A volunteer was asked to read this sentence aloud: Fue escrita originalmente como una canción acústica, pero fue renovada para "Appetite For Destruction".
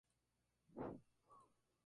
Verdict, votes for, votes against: rejected, 0, 2